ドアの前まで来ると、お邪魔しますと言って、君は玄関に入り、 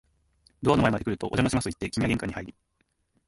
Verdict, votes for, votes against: accepted, 2, 1